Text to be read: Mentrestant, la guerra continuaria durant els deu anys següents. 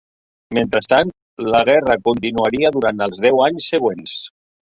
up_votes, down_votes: 5, 0